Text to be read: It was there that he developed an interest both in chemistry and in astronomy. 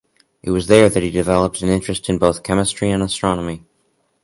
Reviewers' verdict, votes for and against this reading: rejected, 0, 2